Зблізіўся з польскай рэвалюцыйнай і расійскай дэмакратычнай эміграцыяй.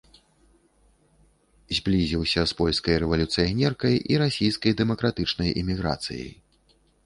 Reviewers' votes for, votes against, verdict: 0, 3, rejected